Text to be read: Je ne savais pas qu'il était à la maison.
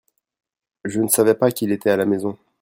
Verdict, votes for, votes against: rejected, 0, 2